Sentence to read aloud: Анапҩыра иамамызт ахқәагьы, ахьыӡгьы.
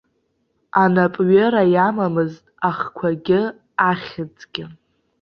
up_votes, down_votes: 3, 0